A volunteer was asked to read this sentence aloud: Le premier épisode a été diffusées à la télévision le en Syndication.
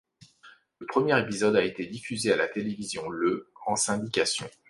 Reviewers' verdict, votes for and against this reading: accepted, 2, 0